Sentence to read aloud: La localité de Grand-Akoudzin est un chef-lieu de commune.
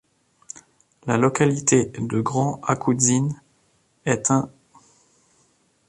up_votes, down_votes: 0, 2